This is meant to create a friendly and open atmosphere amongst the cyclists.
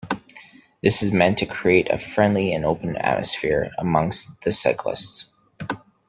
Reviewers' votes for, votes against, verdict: 2, 0, accepted